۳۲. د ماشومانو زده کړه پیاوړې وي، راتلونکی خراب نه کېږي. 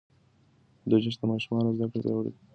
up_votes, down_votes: 0, 2